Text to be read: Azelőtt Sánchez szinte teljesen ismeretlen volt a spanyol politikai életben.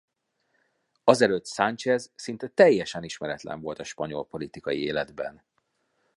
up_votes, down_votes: 2, 0